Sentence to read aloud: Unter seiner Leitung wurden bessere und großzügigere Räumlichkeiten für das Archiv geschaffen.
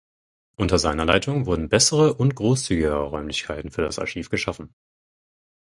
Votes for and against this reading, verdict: 4, 0, accepted